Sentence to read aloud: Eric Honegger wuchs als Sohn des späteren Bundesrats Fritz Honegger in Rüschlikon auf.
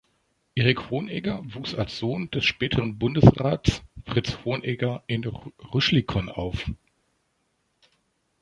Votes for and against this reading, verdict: 1, 2, rejected